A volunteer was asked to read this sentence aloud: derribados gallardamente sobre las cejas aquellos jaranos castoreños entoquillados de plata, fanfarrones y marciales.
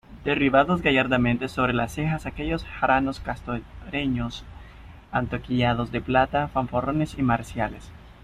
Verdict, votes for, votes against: rejected, 0, 2